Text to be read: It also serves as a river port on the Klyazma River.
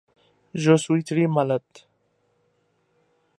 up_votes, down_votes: 0, 2